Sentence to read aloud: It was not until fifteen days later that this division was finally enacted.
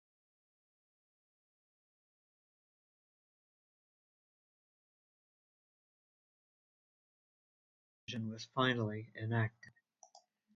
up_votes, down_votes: 0, 3